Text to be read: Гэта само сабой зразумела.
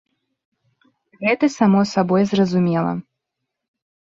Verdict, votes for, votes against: accepted, 3, 0